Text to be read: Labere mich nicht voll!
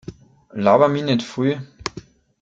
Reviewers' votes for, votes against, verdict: 1, 2, rejected